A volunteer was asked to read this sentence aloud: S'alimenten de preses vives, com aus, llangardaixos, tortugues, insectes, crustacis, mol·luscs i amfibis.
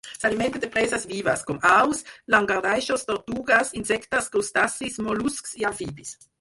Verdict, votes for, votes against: rejected, 2, 4